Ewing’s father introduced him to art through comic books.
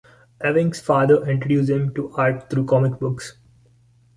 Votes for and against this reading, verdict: 1, 2, rejected